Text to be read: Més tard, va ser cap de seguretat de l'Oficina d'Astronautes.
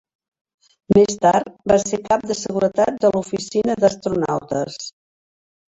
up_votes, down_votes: 3, 0